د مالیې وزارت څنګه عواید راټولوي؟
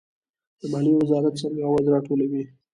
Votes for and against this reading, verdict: 2, 1, accepted